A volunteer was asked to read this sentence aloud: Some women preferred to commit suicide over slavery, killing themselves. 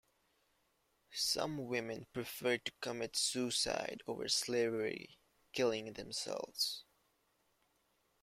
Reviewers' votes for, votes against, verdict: 2, 0, accepted